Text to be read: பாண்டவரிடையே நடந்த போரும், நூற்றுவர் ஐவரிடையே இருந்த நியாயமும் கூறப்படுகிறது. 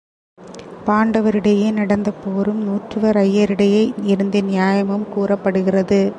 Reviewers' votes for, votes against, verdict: 1, 2, rejected